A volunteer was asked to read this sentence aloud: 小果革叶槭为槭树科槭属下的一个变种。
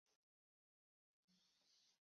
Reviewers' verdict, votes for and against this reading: rejected, 0, 2